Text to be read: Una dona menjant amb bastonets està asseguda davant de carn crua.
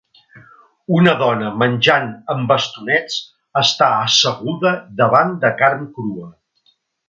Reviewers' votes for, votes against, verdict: 3, 0, accepted